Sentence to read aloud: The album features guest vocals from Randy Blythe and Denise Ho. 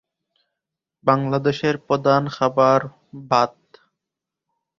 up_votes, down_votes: 0, 2